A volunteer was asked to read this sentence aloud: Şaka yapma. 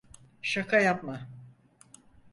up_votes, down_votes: 4, 0